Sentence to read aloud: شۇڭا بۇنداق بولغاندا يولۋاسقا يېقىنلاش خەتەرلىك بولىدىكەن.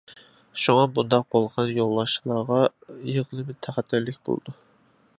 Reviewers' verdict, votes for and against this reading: rejected, 0, 2